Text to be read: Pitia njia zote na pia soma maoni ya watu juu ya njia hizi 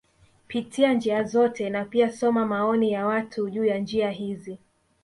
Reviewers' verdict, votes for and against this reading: rejected, 0, 2